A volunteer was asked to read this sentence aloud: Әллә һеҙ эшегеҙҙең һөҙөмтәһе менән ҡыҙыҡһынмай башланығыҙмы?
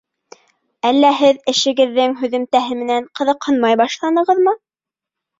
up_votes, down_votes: 2, 0